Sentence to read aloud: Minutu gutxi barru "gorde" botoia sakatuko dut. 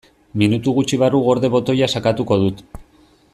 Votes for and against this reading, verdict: 2, 0, accepted